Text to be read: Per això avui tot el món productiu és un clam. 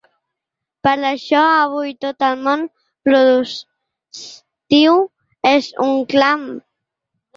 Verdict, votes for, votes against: rejected, 1, 2